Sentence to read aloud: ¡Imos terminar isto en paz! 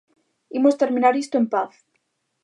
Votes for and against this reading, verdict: 2, 0, accepted